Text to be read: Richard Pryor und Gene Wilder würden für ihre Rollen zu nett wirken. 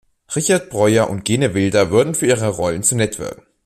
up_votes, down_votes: 0, 2